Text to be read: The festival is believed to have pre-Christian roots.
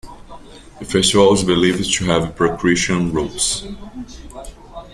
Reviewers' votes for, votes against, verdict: 0, 2, rejected